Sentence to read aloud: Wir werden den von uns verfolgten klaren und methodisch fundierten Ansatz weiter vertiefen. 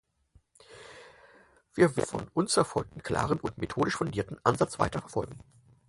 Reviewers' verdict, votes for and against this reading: rejected, 0, 4